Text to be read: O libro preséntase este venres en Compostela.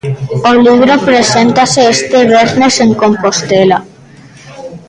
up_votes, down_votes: 1, 2